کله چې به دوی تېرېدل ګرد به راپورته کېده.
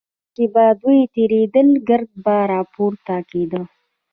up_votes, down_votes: 2, 0